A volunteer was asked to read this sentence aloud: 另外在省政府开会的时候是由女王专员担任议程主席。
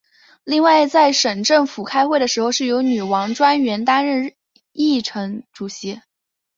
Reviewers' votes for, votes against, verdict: 2, 1, accepted